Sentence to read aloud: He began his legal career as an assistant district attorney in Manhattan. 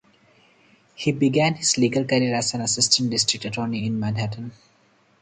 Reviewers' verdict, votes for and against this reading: accepted, 4, 0